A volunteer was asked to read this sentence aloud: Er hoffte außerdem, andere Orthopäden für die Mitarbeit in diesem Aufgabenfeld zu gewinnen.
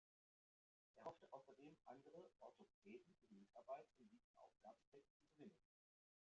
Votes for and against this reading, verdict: 0, 2, rejected